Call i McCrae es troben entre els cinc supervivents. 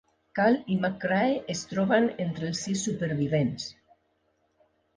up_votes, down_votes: 1, 2